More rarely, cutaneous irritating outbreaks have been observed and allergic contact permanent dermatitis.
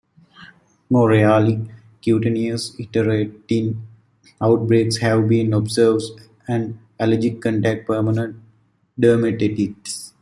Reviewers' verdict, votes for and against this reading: rejected, 1, 2